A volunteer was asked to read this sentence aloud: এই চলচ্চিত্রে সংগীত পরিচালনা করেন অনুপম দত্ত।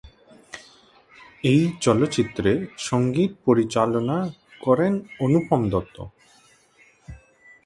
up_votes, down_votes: 2, 0